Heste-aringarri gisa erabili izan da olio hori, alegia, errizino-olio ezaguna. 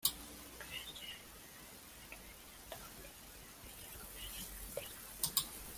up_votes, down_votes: 0, 2